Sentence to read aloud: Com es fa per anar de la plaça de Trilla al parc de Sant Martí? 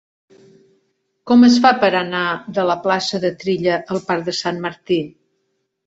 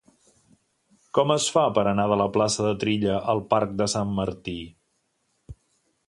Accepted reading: second